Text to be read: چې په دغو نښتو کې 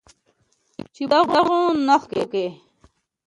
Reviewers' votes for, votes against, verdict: 0, 2, rejected